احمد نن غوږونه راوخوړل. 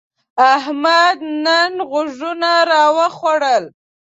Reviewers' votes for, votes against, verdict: 1, 2, rejected